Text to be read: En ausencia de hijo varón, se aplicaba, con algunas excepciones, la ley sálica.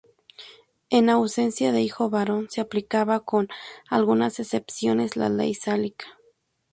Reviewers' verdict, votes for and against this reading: accepted, 2, 0